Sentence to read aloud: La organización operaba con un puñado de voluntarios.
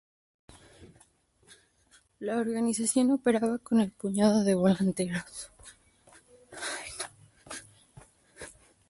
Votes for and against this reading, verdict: 0, 2, rejected